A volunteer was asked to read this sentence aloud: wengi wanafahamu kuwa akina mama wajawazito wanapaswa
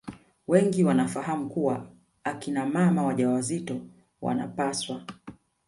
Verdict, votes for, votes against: accepted, 2, 0